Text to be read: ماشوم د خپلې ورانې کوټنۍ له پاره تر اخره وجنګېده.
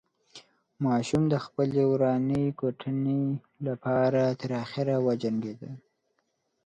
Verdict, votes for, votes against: rejected, 1, 2